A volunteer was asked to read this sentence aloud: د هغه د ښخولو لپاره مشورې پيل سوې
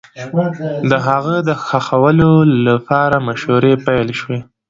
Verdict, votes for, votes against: accepted, 2, 0